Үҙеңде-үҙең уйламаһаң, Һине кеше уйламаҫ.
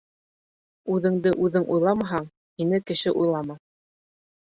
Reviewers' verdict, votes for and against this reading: rejected, 2, 3